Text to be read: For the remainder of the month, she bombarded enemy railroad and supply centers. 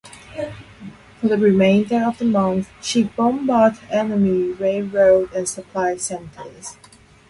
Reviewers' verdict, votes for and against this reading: accepted, 4, 0